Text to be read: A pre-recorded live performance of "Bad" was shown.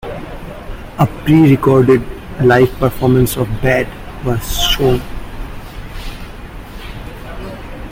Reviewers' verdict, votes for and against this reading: accepted, 2, 1